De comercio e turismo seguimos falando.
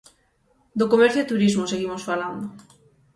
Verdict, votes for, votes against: rejected, 0, 6